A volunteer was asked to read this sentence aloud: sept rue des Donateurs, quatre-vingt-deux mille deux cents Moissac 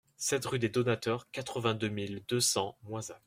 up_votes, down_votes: 1, 2